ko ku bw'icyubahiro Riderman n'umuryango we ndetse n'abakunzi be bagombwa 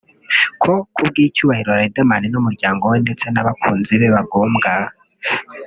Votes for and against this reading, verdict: 0, 2, rejected